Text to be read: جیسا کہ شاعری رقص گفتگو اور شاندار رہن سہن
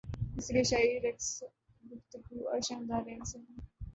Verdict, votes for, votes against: rejected, 0, 2